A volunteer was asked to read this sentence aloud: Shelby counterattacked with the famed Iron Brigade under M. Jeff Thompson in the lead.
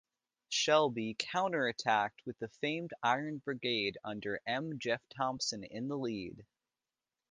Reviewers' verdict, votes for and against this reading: accepted, 2, 0